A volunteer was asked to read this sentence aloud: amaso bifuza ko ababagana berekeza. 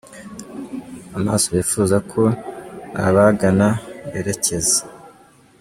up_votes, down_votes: 1, 2